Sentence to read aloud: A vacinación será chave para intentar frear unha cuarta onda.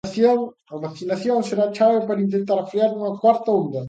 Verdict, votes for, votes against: rejected, 0, 2